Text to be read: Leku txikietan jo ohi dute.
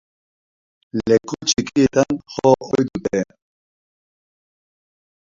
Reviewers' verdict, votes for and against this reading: rejected, 0, 2